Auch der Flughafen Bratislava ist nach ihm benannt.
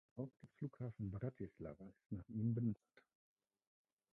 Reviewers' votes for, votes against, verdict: 0, 2, rejected